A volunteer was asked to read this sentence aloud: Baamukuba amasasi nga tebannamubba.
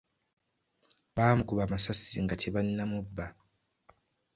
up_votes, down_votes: 2, 0